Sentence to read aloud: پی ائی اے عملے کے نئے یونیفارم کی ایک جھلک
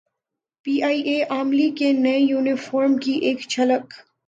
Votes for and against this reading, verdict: 1, 2, rejected